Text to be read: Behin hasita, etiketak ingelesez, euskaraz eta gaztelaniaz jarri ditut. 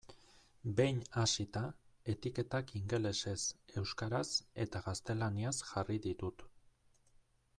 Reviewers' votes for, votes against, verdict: 2, 0, accepted